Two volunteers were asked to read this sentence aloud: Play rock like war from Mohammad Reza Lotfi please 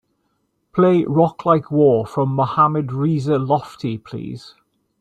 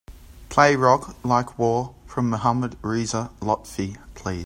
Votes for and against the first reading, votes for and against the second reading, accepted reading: 2, 1, 0, 2, first